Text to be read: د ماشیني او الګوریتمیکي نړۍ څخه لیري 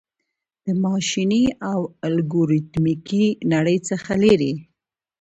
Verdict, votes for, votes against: accepted, 2, 1